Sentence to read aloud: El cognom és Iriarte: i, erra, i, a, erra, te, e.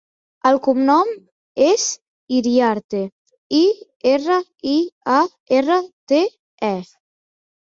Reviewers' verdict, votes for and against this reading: accepted, 4, 0